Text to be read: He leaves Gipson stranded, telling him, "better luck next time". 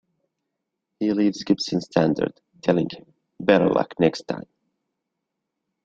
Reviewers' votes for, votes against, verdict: 0, 2, rejected